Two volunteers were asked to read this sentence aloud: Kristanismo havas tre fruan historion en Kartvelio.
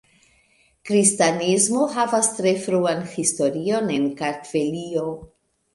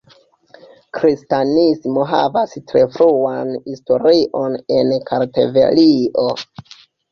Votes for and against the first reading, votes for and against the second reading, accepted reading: 2, 0, 1, 2, first